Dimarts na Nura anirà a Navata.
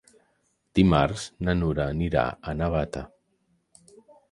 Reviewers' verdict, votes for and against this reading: accepted, 3, 0